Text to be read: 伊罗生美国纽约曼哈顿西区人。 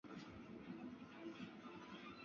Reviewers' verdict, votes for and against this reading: rejected, 0, 2